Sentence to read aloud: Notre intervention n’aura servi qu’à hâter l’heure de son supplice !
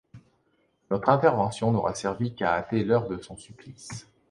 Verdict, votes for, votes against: accepted, 2, 0